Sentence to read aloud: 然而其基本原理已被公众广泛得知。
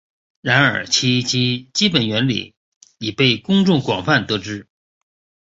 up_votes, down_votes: 1, 2